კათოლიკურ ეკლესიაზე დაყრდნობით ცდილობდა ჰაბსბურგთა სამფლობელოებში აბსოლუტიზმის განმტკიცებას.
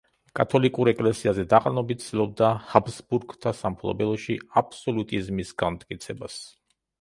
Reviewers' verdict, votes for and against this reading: rejected, 1, 2